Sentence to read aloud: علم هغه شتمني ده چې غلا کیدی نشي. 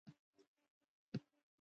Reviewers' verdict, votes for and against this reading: rejected, 0, 2